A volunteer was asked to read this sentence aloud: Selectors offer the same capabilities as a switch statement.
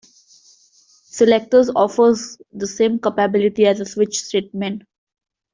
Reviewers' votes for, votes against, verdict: 0, 3, rejected